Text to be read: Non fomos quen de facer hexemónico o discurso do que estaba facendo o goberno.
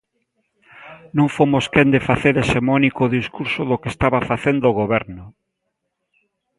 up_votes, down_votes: 2, 0